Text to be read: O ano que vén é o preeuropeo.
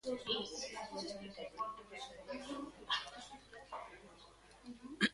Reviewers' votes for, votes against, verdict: 0, 2, rejected